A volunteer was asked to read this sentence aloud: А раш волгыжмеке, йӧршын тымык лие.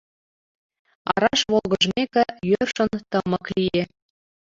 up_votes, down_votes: 1, 2